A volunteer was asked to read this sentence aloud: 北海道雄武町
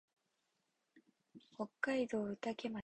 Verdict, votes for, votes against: rejected, 2, 2